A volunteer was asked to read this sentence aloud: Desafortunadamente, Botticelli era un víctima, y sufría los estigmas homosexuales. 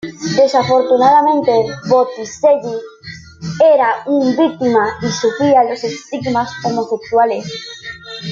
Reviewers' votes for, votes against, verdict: 1, 2, rejected